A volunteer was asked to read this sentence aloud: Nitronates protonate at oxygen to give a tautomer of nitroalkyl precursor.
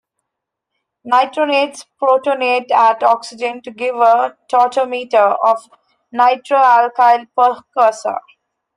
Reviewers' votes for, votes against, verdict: 0, 2, rejected